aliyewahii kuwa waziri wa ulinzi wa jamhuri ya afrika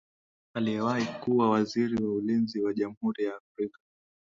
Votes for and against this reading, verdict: 12, 2, accepted